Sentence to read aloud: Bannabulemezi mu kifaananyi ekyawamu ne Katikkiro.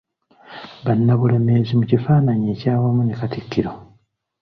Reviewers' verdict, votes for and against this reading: accepted, 2, 0